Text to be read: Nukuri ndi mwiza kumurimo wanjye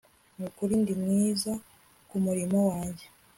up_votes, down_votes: 2, 0